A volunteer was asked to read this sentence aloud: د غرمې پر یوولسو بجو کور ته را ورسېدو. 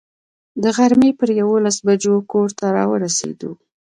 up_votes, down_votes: 2, 1